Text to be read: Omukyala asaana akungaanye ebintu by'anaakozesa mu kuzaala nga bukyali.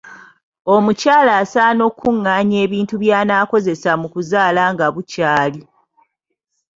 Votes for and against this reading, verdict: 1, 2, rejected